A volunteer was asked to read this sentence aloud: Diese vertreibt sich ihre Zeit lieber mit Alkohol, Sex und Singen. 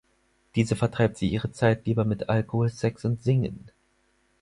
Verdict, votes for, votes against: rejected, 2, 4